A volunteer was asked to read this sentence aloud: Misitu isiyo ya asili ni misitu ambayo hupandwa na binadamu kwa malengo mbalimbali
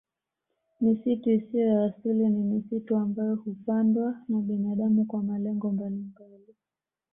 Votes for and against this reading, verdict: 2, 1, accepted